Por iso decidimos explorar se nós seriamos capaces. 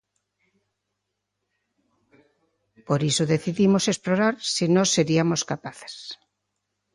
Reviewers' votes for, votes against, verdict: 1, 2, rejected